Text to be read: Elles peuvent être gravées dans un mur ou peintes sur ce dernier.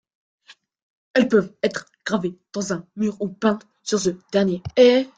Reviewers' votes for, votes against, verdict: 0, 2, rejected